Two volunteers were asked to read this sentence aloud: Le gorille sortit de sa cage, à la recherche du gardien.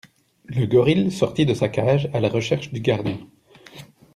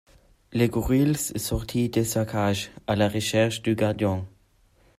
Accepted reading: first